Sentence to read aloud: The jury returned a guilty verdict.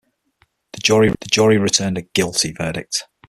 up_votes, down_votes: 0, 6